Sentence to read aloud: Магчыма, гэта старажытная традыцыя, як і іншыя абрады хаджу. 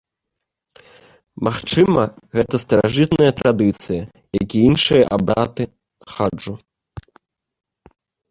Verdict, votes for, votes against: accepted, 2, 0